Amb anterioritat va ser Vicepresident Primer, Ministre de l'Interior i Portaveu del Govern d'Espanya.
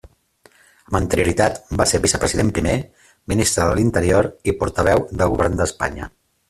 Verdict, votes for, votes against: rejected, 1, 2